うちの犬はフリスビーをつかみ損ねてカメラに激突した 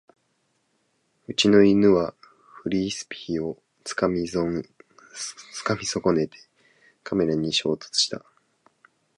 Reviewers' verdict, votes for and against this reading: rejected, 0, 2